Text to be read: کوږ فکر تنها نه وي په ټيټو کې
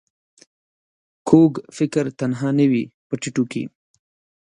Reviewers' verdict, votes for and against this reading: accepted, 2, 0